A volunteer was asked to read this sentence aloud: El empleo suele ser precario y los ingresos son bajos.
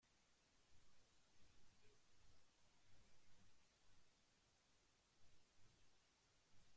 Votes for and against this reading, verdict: 0, 2, rejected